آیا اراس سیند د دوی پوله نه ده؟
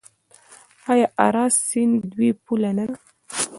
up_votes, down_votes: 2, 0